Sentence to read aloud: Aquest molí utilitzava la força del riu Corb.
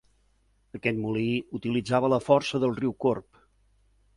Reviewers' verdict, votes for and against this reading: accepted, 2, 0